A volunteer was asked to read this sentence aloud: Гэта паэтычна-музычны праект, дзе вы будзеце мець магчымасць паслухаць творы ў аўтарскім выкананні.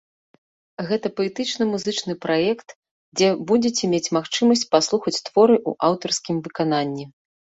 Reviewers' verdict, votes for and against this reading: rejected, 0, 2